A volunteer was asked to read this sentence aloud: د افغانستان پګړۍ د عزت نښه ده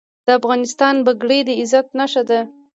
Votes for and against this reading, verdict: 2, 0, accepted